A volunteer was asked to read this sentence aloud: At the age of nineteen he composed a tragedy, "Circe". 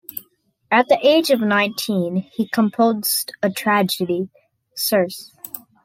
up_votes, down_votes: 2, 1